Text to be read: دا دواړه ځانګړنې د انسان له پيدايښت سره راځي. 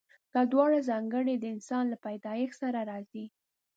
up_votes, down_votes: 1, 2